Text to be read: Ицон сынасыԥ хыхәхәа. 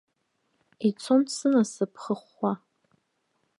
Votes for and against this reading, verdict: 2, 0, accepted